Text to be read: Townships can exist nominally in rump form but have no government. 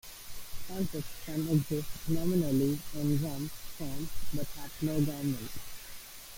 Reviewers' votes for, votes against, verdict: 0, 2, rejected